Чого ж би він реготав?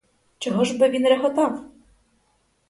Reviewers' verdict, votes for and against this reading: accepted, 4, 2